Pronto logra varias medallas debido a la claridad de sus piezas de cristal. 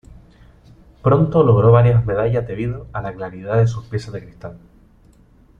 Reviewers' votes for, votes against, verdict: 0, 2, rejected